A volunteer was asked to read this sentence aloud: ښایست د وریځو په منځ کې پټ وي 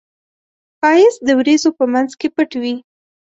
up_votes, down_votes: 2, 0